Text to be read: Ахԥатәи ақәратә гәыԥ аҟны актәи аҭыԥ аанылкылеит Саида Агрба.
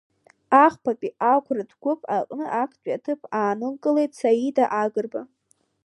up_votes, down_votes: 0, 2